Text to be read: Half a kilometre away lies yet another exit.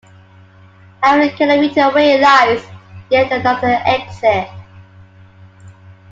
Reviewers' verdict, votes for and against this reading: accepted, 2, 1